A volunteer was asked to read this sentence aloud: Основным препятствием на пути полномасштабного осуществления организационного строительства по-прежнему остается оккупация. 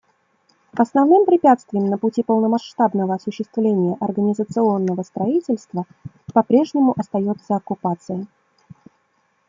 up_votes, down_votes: 2, 0